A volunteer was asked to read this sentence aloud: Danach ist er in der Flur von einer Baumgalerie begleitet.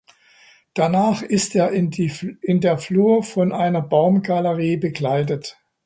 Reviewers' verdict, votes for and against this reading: rejected, 0, 2